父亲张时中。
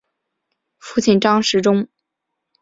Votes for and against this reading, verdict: 3, 0, accepted